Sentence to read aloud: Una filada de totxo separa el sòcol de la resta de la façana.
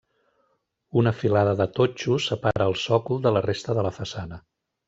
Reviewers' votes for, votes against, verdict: 3, 0, accepted